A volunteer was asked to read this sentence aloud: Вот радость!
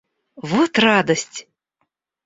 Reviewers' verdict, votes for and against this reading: rejected, 0, 2